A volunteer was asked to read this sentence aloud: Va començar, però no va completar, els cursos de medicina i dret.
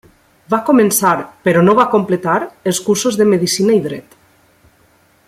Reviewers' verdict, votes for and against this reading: accepted, 3, 0